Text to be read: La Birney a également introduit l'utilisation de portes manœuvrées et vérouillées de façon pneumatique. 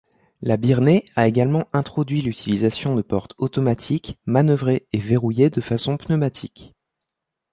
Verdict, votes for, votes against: rejected, 1, 2